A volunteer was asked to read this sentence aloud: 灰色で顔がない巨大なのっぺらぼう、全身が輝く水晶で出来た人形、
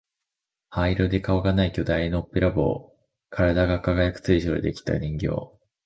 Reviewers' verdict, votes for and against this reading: rejected, 1, 2